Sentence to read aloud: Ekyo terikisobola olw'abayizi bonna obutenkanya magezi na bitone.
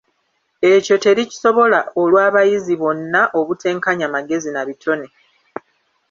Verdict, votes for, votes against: rejected, 0, 2